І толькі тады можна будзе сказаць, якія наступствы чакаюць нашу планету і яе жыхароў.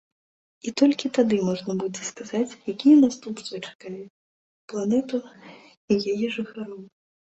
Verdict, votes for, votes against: rejected, 0, 2